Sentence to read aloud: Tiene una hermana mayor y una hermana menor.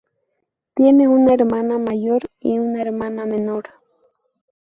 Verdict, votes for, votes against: accepted, 4, 0